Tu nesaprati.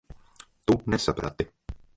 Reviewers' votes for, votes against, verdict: 1, 2, rejected